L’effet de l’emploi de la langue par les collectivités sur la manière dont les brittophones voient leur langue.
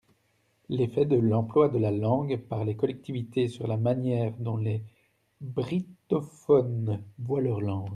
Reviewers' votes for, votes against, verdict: 2, 0, accepted